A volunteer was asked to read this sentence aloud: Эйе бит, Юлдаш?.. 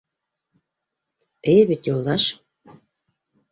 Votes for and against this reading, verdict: 2, 0, accepted